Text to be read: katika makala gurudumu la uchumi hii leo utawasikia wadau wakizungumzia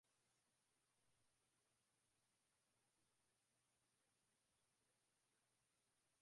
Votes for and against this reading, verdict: 0, 2, rejected